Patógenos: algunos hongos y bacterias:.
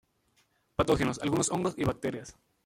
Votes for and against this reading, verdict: 0, 2, rejected